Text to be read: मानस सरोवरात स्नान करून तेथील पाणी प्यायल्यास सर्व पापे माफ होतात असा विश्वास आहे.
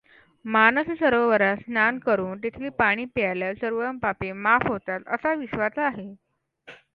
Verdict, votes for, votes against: accepted, 2, 0